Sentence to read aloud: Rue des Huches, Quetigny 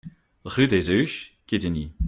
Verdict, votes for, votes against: accepted, 2, 0